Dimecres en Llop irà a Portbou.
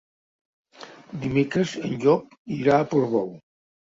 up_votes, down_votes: 3, 0